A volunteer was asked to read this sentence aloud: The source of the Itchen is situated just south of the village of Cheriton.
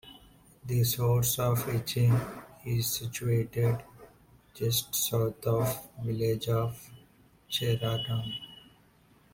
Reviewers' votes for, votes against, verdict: 0, 2, rejected